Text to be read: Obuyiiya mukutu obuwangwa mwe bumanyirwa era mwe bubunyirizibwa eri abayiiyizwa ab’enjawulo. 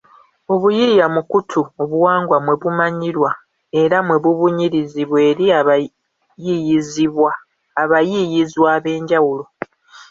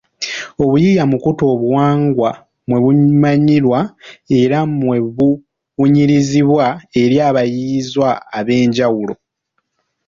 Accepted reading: second